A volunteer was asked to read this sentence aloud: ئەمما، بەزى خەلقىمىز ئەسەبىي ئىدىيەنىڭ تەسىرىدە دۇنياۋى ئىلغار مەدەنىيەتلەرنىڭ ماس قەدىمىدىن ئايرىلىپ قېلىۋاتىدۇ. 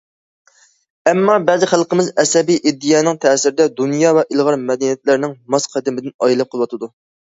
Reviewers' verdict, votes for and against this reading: rejected, 1, 2